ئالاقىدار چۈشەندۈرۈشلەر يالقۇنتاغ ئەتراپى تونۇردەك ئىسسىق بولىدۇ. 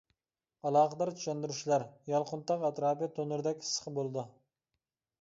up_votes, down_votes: 2, 0